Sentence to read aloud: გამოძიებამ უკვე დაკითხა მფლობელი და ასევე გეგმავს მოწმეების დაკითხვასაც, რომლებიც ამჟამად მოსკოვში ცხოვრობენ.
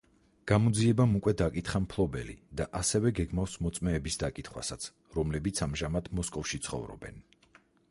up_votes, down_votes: 4, 0